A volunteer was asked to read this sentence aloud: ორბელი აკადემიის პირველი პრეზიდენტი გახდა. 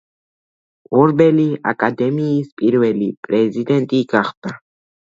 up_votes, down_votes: 2, 0